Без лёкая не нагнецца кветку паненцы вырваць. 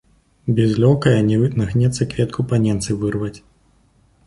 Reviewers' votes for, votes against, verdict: 0, 2, rejected